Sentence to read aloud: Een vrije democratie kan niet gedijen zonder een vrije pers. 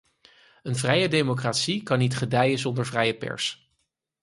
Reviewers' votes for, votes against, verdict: 2, 4, rejected